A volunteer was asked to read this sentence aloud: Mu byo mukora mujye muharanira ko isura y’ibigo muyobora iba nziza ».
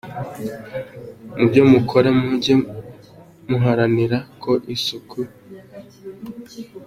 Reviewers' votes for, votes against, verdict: 0, 2, rejected